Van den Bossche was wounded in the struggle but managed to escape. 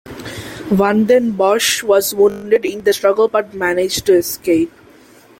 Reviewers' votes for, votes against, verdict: 2, 1, accepted